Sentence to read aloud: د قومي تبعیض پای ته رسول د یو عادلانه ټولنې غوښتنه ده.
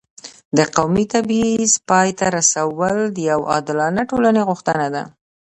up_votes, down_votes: 2, 1